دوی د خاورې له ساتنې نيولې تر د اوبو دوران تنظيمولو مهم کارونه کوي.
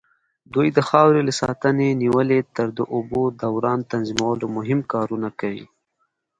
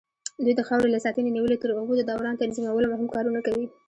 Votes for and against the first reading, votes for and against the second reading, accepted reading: 3, 2, 0, 2, first